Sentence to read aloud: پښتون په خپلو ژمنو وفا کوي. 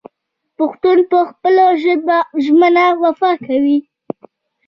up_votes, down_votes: 0, 2